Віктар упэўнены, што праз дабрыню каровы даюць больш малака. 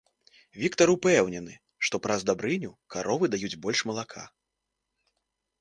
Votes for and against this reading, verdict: 1, 2, rejected